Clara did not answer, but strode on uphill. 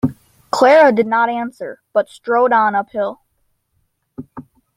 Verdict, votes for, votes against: accepted, 2, 0